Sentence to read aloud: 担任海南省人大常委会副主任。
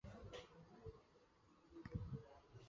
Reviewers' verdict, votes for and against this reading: rejected, 0, 2